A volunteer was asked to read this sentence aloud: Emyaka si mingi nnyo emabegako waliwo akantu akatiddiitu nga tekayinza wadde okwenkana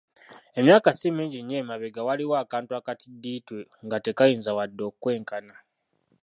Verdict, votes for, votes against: rejected, 0, 2